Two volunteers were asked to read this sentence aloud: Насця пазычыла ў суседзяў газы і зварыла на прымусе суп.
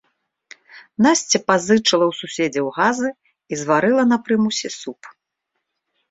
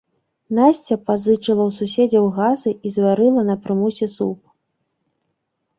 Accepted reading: first